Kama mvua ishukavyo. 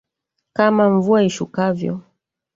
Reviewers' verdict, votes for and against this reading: rejected, 1, 2